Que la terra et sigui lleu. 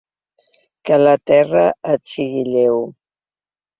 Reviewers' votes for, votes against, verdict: 5, 0, accepted